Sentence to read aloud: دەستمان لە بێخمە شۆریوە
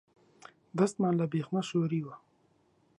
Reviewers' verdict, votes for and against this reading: accepted, 2, 0